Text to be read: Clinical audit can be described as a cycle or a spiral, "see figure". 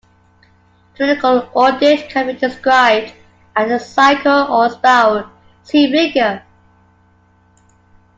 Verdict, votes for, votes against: accepted, 2, 1